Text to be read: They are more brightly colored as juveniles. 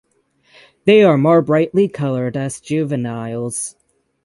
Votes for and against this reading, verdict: 6, 0, accepted